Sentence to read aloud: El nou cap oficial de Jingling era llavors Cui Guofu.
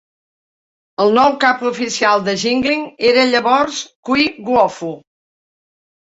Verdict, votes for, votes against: accepted, 2, 0